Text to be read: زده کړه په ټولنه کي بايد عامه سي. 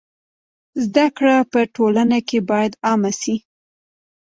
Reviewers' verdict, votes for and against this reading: accepted, 2, 1